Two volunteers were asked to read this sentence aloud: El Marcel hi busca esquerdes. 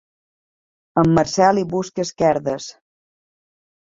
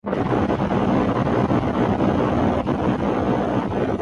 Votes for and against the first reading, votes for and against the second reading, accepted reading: 2, 1, 0, 2, first